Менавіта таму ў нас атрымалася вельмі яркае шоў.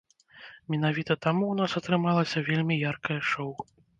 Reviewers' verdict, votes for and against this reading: accepted, 2, 1